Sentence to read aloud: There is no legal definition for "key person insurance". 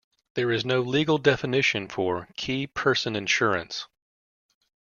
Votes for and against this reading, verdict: 2, 0, accepted